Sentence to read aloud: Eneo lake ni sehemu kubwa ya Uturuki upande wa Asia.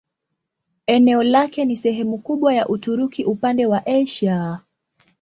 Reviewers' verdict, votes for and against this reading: rejected, 1, 2